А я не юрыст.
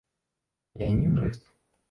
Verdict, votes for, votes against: rejected, 1, 2